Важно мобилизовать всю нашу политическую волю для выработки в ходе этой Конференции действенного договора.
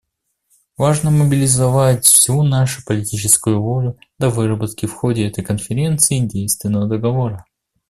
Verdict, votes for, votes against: accepted, 2, 0